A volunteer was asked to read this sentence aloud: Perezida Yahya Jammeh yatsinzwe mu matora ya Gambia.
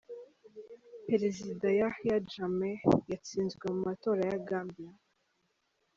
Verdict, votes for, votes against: accepted, 3, 0